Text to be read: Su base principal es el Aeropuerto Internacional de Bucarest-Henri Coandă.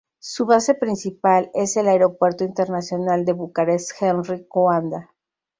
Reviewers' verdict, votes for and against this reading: rejected, 2, 2